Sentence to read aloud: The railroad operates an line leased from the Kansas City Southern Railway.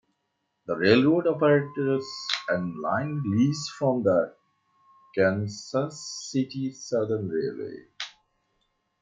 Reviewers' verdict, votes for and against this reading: accepted, 2, 0